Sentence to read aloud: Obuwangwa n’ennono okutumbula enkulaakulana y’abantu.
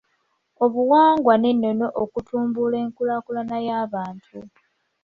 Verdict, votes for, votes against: accepted, 2, 0